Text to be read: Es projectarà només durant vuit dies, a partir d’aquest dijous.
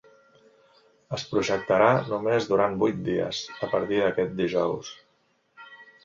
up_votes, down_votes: 3, 0